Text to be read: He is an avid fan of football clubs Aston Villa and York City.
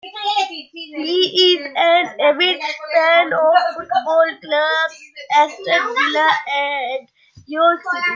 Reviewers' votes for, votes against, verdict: 0, 2, rejected